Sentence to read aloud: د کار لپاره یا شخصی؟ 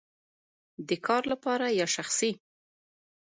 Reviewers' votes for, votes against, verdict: 2, 0, accepted